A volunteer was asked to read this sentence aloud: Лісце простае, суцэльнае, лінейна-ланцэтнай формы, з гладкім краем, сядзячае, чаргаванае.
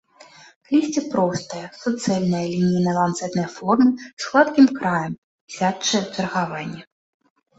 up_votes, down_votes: 0, 2